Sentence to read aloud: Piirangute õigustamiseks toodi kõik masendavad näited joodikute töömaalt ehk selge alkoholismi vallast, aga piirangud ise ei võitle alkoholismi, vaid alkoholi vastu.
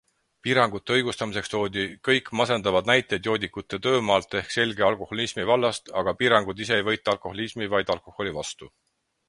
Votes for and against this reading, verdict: 6, 0, accepted